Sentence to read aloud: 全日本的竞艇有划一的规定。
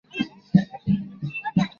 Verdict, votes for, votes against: rejected, 0, 2